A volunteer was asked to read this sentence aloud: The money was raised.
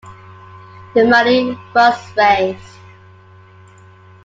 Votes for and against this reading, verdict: 2, 0, accepted